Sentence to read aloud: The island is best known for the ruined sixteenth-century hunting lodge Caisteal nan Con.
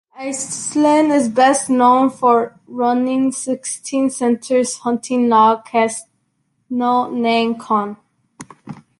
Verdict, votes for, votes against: rejected, 1, 2